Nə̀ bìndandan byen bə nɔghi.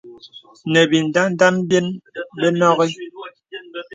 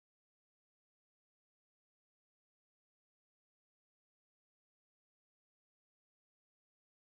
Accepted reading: first